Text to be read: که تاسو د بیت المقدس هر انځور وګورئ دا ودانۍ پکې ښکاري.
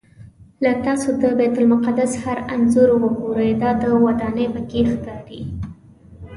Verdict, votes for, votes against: rejected, 0, 2